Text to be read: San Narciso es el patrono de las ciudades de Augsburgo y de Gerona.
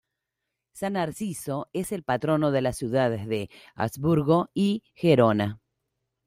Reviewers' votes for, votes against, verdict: 0, 2, rejected